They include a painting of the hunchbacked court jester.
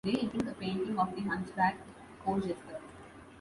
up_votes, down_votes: 0, 2